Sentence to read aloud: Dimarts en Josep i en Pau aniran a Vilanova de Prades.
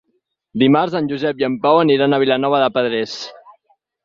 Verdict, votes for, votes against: rejected, 2, 4